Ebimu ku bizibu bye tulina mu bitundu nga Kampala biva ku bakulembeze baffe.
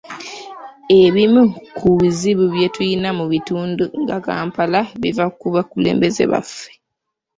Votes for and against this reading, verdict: 3, 1, accepted